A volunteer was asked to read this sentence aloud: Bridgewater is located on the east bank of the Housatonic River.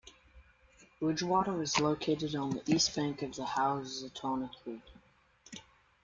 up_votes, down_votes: 0, 2